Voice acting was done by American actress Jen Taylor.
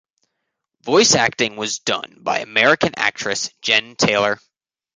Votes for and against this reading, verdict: 1, 2, rejected